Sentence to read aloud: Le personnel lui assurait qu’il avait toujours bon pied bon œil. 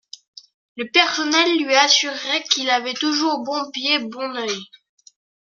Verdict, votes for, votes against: accepted, 2, 0